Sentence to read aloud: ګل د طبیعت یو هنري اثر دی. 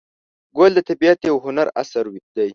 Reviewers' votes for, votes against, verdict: 1, 2, rejected